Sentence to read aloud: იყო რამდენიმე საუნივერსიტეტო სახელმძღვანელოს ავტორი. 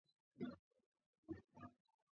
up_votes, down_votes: 0, 2